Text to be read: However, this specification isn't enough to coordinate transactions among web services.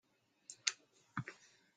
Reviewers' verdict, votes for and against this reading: rejected, 0, 2